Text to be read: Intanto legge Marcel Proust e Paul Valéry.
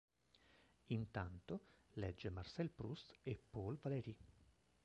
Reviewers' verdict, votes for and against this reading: rejected, 0, 2